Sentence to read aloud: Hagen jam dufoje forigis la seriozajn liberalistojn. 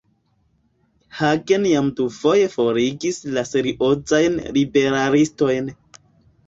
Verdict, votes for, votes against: rejected, 0, 2